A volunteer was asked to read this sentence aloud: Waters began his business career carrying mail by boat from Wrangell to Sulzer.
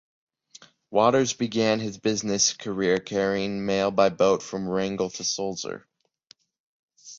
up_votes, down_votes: 0, 2